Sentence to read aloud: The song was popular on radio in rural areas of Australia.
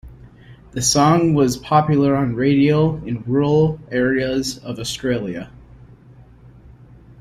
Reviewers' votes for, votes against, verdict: 2, 0, accepted